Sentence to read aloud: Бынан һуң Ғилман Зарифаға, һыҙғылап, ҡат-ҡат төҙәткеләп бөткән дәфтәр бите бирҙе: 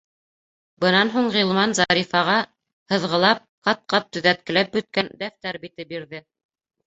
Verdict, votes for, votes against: accepted, 2, 0